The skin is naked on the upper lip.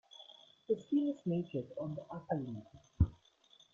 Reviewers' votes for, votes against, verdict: 2, 1, accepted